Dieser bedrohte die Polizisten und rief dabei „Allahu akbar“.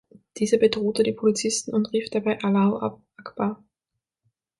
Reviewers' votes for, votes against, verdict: 0, 6, rejected